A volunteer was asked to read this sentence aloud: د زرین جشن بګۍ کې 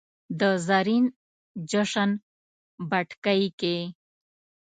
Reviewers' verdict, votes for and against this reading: rejected, 1, 2